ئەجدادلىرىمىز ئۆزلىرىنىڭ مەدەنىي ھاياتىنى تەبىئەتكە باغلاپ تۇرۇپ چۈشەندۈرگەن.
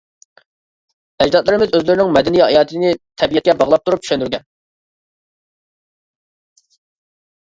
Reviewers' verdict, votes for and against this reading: accepted, 2, 0